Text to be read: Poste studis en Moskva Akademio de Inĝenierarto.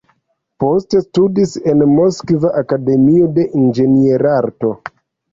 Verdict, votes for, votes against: rejected, 1, 2